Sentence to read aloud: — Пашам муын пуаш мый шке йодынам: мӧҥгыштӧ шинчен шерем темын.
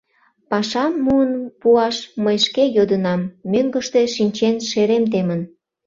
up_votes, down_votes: 2, 0